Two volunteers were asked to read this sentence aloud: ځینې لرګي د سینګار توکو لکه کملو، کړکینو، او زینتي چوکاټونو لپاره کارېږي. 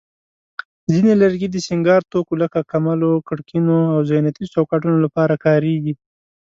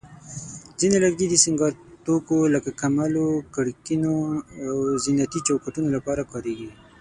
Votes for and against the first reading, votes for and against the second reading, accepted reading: 2, 0, 3, 6, first